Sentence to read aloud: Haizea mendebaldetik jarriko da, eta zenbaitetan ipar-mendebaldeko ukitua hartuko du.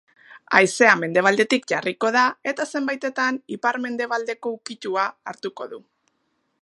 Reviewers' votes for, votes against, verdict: 3, 0, accepted